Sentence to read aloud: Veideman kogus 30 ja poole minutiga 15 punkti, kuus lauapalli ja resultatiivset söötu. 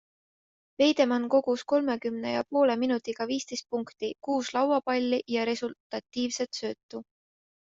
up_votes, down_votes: 0, 2